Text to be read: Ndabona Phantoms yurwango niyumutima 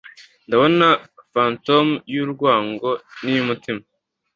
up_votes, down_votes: 2, 0